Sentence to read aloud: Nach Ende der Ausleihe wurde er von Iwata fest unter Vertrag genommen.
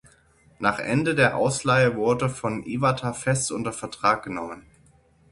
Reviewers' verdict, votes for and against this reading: rejected, 0, 6